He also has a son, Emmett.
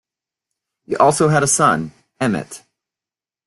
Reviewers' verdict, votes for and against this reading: rejected, 1, 2